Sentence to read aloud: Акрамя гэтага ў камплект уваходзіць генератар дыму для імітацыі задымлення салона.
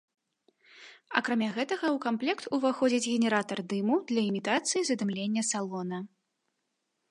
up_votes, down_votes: 2, 0